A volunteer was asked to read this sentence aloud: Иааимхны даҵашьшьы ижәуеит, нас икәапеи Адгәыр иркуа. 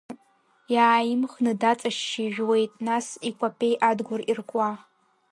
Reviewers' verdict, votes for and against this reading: rejected, 0, 2